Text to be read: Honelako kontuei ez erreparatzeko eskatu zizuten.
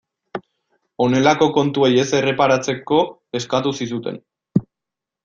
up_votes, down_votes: 2, 0